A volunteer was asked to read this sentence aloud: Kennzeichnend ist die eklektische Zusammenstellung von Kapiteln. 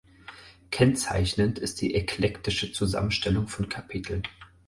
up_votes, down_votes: 4, 0